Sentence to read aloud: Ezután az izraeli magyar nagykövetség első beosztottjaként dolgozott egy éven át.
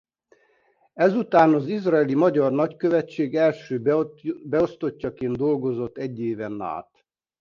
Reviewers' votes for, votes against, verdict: 1, 2, rejected